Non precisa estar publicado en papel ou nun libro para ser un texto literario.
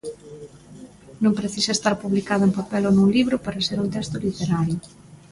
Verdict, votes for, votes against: rejected, 1, 2